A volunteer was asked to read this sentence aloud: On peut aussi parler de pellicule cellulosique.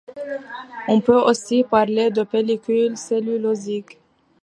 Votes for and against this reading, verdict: 2, 0, accepted